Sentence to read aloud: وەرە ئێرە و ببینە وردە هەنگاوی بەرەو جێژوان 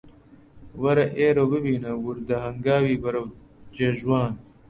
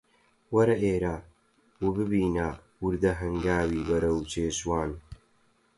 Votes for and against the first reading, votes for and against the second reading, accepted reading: 2, 0, 0, 4, first